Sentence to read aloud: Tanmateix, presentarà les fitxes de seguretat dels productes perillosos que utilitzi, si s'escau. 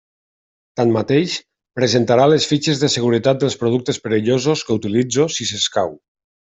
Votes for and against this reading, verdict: 0, 2, rejected